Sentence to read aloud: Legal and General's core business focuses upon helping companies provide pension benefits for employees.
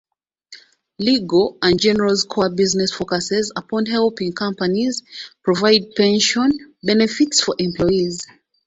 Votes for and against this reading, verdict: 2, 1, accepted